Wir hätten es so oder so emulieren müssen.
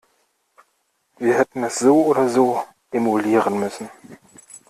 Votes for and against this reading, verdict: 2, 0, accepted